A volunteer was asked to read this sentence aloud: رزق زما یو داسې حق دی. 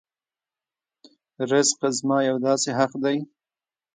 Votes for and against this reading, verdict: 0, 2, rejected